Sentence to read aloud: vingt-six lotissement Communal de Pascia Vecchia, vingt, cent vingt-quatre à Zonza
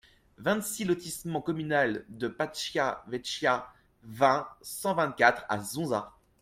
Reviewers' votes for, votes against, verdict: 2, 0, accepted